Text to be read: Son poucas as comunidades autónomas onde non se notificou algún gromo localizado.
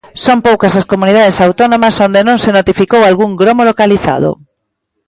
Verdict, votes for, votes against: accepted, 2, 1